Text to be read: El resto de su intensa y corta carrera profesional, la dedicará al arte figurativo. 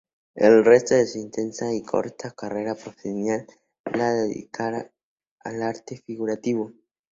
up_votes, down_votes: 0, 2